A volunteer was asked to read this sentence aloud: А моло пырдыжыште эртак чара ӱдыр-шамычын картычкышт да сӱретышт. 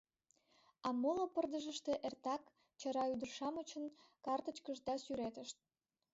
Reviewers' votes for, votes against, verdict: 2, 0, accepted